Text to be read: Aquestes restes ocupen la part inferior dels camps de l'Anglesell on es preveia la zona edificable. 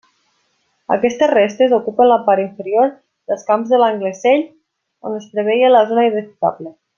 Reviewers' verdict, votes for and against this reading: rejected, 1, 2